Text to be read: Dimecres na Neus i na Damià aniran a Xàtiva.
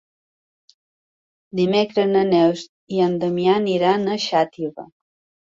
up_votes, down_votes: 1, 4